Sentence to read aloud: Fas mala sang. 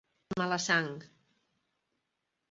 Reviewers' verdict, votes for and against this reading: rejected, 0, 2